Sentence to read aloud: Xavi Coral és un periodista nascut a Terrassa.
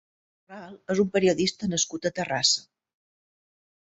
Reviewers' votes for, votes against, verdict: 1, 2, rejected